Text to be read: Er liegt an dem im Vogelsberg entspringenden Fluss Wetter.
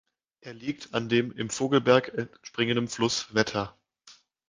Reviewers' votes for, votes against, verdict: 1, 2, rejected